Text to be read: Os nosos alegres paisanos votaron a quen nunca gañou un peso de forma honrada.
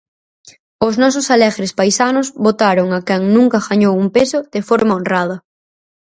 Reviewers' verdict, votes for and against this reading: accepted, 4, 0